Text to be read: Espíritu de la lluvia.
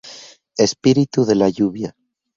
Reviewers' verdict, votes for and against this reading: accepted, 2, 0